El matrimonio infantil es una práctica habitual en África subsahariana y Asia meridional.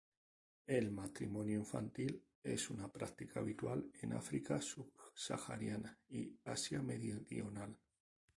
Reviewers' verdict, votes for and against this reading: rejected, 0, 2